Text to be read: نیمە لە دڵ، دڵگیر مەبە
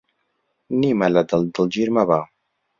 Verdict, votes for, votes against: accepted, 2, 0